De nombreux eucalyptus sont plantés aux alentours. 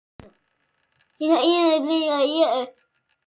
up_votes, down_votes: 0, 2